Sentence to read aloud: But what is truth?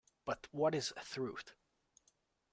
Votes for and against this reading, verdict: 1, 2, rejected